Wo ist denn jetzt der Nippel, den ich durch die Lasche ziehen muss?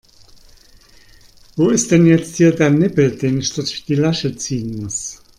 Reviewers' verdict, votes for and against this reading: rejected, 1, 2